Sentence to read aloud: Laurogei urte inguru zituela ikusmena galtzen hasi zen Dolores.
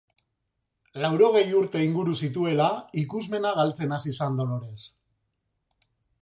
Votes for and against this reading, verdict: 2, 0, accepted